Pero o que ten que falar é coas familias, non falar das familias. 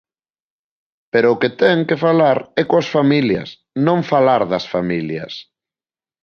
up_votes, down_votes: 3, 0